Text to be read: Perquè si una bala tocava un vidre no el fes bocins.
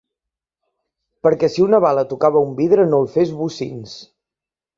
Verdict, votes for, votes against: accepted, 3, 0